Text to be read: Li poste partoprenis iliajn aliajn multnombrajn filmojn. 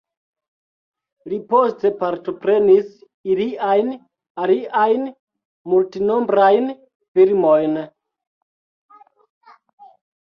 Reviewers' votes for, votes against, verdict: 0, 2, rejected